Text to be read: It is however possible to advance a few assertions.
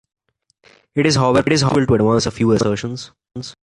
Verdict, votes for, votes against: rejected, 0, 2